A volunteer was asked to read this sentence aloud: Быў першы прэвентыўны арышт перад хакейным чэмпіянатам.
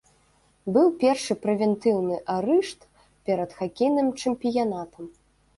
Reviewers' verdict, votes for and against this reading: rejected, 1, 2